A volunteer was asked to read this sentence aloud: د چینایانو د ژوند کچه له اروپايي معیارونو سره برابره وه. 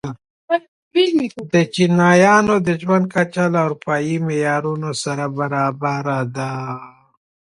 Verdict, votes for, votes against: rejected, 1, 2